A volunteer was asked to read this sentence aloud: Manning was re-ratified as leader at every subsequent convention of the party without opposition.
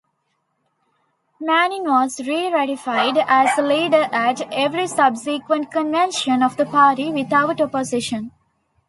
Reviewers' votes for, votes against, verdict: 2, 0, accepted